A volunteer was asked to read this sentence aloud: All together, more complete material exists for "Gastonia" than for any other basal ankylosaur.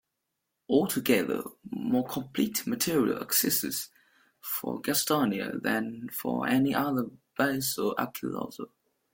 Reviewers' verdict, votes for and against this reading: rejected, 1, 2